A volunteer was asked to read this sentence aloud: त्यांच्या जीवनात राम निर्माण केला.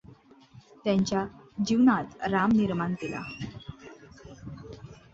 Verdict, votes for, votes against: accepted, 2, 0